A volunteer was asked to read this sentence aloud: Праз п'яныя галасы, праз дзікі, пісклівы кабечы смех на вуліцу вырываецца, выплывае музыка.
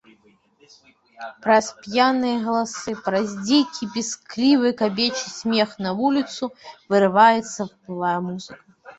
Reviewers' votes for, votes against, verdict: 1, 2, rejected